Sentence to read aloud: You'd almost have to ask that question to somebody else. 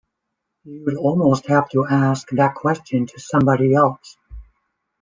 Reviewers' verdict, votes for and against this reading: rejected, 0, 2